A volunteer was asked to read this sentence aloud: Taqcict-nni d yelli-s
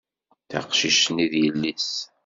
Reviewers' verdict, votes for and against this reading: accepted, 2, 0